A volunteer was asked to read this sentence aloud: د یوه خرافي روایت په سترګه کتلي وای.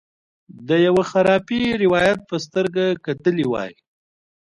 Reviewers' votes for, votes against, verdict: 3, 2, accepted